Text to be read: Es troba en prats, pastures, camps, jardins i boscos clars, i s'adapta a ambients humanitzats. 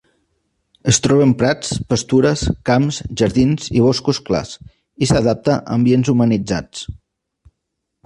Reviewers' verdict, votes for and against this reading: accepted, 2, 0